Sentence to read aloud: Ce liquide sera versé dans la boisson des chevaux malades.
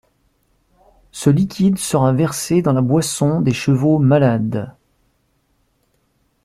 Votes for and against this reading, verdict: 2, 0, accepted